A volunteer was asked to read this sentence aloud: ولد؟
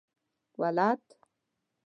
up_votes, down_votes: 2, 0